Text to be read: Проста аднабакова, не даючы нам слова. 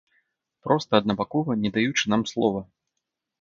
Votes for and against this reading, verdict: 3, 0, accepted